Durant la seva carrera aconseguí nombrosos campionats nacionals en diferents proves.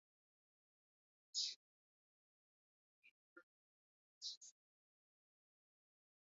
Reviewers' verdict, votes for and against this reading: rejected, 1, 2